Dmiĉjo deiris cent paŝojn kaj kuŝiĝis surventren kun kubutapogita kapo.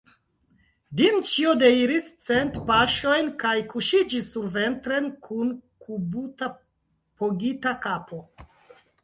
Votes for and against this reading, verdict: 0, 2, rejected